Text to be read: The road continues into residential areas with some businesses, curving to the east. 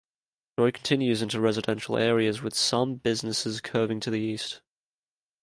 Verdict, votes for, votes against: rejected, 1, 2